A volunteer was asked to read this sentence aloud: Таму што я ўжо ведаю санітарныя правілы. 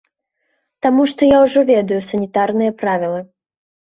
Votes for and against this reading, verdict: 2, 0, accepted